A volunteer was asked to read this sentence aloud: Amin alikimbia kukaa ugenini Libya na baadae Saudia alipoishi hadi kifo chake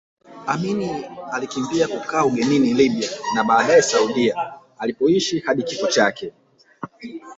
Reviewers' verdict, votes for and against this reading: rejected, 0, 2